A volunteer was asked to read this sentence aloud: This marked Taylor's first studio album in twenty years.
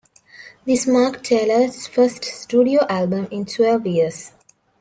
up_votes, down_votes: 0, 2